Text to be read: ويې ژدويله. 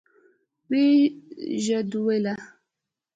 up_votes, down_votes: 2, 0